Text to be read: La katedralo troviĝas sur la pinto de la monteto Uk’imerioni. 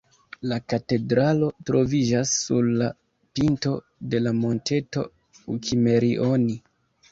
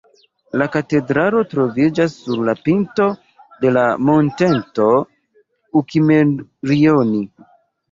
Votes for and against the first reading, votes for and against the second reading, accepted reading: 2, 1, 1, 2, first